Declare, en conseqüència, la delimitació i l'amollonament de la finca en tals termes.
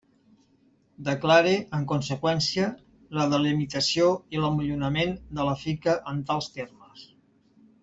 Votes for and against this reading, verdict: 2, 0, accepted